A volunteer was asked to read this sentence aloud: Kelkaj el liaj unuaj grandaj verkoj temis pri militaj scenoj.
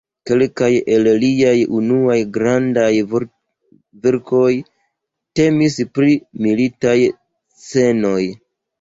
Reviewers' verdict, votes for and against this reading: rejected, 0, 2